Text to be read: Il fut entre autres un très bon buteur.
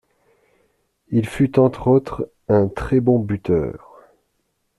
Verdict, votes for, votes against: accepted, 2, 0